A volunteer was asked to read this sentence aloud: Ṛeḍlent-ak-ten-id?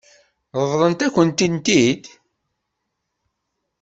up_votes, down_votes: 2, 0